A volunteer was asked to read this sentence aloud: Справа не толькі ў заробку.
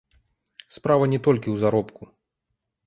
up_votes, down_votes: 0, 2